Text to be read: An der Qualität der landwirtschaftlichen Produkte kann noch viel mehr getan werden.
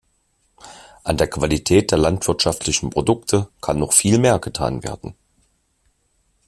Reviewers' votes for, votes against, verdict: 2, 0, accepted